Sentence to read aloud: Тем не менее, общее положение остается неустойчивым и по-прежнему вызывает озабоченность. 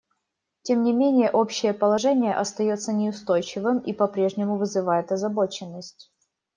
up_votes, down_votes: 2, 0